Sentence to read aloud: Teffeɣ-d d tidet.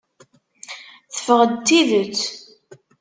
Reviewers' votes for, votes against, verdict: 2, 0, accepted